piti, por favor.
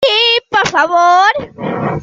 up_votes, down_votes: 0, 2